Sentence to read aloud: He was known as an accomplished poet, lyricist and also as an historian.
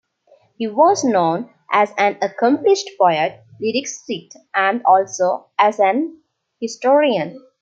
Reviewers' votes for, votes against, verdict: 2, 0, accepted